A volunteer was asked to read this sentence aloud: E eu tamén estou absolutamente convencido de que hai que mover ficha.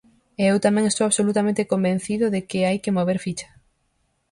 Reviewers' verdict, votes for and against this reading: accepted, 4, 0